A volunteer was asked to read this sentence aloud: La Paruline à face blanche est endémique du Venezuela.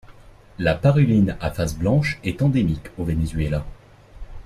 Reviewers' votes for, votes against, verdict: 0, 2, rejected